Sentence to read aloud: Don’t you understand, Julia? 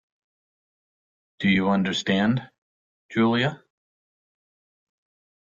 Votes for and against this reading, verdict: 1, 2, rejected